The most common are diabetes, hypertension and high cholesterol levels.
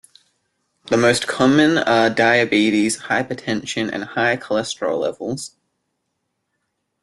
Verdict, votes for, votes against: accepted, 2, 0